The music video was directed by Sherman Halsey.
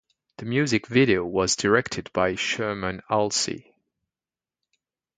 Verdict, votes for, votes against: accepted, 2, 0